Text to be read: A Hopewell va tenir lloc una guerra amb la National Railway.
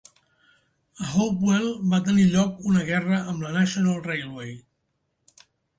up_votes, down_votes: 3, 0